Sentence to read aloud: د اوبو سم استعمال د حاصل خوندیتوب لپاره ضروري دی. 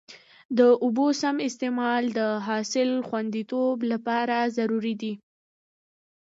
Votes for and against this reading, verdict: 0, 2, rejected